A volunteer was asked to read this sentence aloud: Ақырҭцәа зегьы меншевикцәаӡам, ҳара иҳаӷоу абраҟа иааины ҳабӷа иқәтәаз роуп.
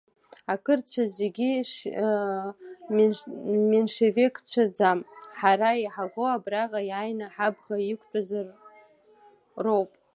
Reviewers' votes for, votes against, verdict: 2, 3, rejected